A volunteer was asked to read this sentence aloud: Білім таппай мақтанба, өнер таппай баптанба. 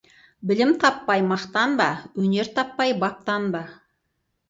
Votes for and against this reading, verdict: 4, 0, accepted